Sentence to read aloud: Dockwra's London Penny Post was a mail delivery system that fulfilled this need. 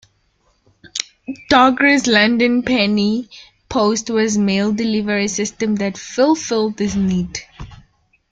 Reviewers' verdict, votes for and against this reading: rejected, 0, 2